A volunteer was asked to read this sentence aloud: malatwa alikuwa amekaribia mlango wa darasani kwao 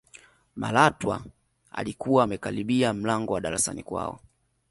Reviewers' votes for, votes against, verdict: 2, 0, accepted